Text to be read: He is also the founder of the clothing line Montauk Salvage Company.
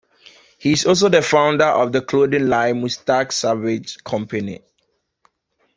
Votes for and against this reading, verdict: 1, 2, rejected